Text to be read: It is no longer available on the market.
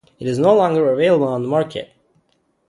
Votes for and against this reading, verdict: 0, 2, rejected